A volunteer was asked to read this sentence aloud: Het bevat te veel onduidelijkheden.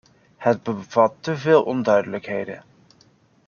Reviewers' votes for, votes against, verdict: 2, 0, accepted